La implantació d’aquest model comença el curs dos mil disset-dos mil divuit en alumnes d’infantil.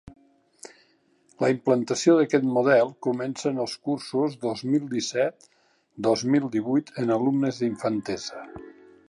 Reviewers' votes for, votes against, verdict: 0, 2, rejected